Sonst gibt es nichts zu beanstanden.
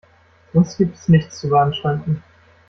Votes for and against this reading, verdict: 1, 2, rejected